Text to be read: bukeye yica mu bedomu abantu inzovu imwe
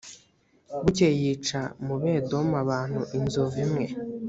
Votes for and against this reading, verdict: 2, 0, accepted